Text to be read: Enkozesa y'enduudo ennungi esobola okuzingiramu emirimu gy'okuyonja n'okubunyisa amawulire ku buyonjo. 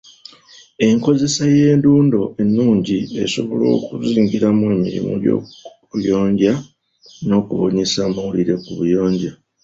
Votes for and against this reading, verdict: 0, 2, rejected